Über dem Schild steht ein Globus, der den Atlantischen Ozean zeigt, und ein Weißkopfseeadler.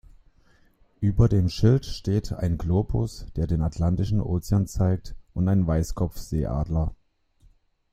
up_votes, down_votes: 1, 2